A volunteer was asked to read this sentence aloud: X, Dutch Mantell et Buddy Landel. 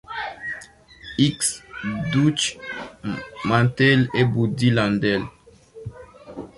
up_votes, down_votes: 0, 2